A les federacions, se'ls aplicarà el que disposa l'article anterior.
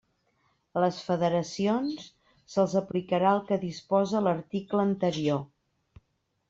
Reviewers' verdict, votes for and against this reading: accepted, 3, 0